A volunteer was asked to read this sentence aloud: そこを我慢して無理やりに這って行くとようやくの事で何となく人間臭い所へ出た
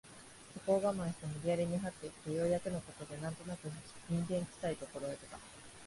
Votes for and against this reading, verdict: 2, 1, accepted